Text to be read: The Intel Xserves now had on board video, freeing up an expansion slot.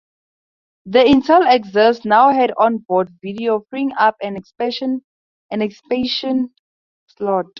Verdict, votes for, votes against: rejected, 0, 2